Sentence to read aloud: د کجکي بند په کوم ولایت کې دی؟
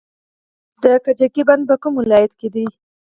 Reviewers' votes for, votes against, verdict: 0, 4, rejected